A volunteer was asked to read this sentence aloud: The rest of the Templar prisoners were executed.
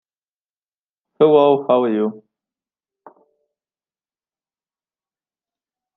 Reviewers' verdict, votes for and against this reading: rejected, 0, 2